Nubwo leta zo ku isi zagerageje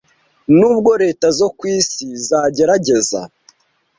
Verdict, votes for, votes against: rejected, 1, 2